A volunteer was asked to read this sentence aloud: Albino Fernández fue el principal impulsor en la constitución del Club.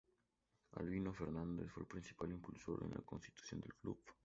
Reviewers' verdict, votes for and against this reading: accepted, 2, 0